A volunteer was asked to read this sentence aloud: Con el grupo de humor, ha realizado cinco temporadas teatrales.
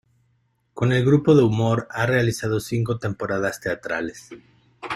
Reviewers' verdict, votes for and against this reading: accepted, 2, 0